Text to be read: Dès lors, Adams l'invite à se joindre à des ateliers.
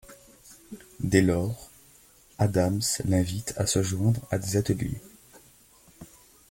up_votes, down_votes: 2, 1